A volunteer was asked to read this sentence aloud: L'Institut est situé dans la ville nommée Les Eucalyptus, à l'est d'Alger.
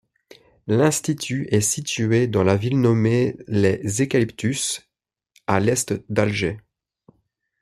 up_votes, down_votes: 1, 2